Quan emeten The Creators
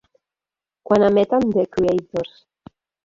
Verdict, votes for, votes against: accepted, 3, 1